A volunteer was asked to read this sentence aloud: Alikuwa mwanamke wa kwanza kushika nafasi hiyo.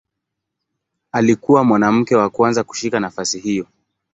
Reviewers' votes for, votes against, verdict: 3, 0, accepted